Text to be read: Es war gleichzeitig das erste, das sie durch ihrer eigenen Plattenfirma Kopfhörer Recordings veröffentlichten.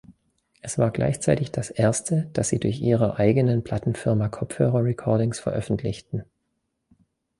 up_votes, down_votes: 2, 0